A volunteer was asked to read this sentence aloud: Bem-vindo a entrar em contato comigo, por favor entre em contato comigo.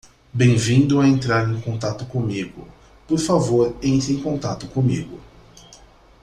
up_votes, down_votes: 2, 0